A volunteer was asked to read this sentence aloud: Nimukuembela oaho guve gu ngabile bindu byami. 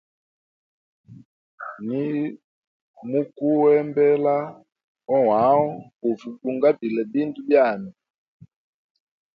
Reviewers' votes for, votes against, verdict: 2, 0, accepted